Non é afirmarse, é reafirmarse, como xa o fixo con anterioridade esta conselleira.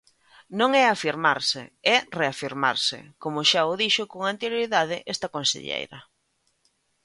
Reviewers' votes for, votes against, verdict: 1, 2, rejected